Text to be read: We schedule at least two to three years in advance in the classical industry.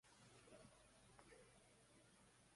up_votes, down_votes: 0, 2